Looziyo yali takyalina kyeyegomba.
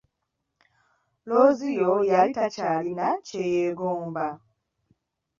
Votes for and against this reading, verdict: 2, 0, accepted